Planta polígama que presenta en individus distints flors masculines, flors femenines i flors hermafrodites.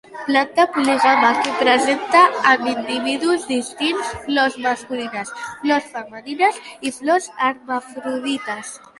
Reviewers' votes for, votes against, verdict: 1, 2, rejected